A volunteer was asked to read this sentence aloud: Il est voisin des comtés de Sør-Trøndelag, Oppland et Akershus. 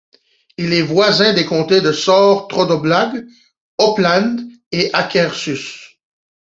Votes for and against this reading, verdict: 2, 1, accepted